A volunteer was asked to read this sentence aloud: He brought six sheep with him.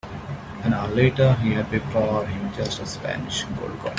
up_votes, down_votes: 0, 5